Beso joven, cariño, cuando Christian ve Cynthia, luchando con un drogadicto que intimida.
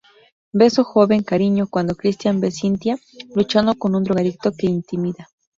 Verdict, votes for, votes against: rejected, 0, 2